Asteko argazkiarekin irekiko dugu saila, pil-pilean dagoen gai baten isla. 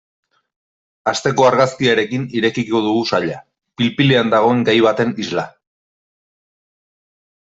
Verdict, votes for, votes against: accepted, 2, 0